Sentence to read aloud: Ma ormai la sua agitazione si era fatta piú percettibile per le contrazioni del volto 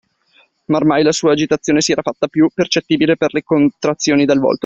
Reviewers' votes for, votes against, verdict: 1, 2, rejected